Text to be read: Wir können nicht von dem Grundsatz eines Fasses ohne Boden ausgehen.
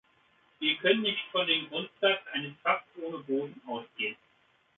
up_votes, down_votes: 2, 0